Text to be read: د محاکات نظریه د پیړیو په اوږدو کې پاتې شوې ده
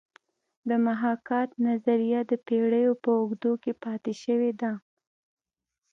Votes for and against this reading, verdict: 1, 2, rejected